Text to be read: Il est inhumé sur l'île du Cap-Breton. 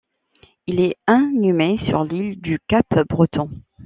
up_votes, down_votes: 0, 2